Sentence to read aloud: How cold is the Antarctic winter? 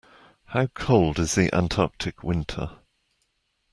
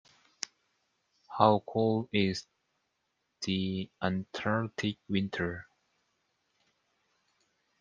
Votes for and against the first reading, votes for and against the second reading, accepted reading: 2, 0, 1, 2, first